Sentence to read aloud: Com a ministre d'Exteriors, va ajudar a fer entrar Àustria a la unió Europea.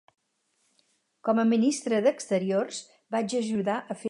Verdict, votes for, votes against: rejected, 0, 4